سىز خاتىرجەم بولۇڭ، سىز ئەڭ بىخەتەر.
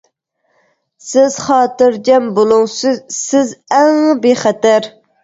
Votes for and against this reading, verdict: 1, 2, rejected